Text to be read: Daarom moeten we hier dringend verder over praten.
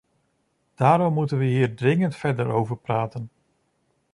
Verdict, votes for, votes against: accepted, 2, 0